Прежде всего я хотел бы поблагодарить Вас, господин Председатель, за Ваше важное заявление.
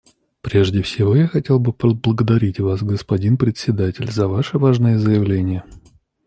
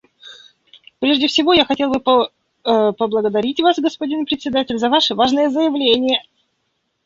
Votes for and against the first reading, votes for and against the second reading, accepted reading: 2, 0, 0, 2, first